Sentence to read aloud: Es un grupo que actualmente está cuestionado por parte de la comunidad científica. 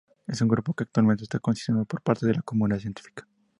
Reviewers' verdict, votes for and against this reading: rejected, 0, 6